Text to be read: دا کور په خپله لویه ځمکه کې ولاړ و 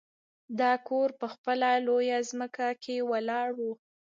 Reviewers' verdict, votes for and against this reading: rejected, 1, 2